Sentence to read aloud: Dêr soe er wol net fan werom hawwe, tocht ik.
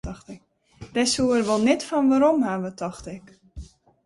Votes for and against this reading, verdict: 0, 2, rejected